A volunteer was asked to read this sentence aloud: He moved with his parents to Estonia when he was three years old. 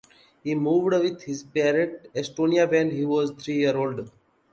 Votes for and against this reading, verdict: 0, 2, rejected